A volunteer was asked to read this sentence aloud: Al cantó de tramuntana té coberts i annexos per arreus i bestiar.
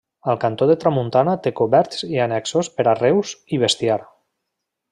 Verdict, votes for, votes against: accepted, 2, 0